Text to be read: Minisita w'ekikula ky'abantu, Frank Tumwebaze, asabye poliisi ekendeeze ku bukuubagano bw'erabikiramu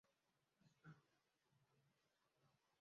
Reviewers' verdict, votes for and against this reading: rejected, 0, 2